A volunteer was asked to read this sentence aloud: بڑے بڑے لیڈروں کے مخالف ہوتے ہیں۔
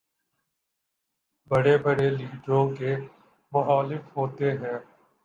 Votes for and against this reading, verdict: 2, 0, accepted